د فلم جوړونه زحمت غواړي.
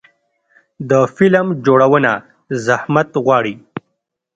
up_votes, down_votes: 2, 0